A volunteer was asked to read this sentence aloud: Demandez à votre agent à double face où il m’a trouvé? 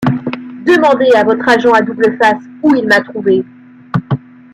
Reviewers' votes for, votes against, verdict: 0, 2, rejected